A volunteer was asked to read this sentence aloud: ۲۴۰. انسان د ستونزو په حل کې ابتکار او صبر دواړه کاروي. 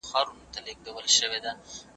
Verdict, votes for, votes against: rejected, 0, 2